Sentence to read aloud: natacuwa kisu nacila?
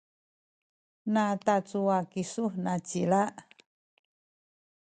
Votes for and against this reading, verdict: 1, 2, rejected